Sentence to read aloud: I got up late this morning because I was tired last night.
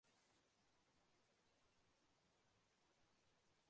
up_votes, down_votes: 1, 2